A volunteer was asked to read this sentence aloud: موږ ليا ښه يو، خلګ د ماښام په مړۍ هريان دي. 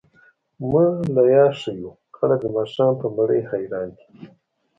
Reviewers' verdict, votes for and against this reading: rejected, 1, 2